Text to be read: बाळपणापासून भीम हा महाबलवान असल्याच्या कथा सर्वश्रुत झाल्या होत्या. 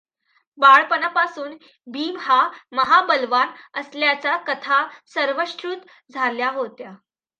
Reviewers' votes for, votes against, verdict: 2, 1, accepted